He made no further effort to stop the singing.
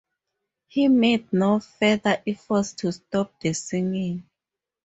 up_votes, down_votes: 0, 2